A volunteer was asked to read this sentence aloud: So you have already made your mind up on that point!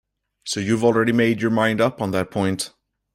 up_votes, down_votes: 2, 0